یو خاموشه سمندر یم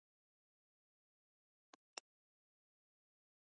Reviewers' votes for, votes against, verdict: 0, 2, rejected